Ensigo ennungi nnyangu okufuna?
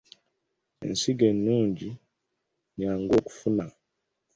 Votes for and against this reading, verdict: 1, 2, rejected